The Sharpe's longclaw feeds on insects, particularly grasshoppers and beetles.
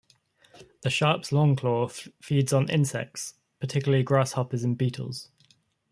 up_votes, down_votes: 2, 0